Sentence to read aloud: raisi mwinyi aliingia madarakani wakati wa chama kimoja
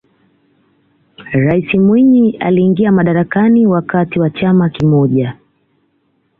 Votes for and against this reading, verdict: 2, 0, accepted